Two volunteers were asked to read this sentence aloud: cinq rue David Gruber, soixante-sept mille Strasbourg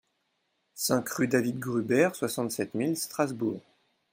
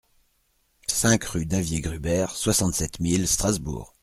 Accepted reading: first